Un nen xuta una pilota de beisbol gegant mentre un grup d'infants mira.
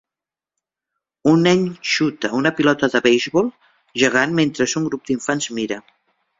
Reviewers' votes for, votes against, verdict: 0, 2, rejected